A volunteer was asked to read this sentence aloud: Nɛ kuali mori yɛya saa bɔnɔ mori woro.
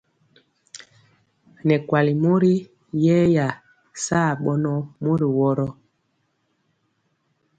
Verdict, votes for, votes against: accepted, 2, 0